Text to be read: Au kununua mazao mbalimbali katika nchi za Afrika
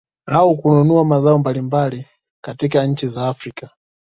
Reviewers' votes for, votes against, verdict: 2, 0, accepted